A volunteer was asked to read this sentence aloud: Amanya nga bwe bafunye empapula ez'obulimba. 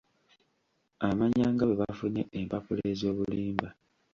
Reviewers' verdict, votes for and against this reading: accepted, 2, 0